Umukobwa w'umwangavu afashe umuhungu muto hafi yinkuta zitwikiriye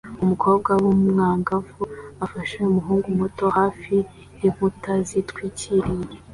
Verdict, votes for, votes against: accepted, 2, 0